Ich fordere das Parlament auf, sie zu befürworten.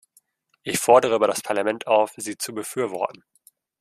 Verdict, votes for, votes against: rejected, 1, 2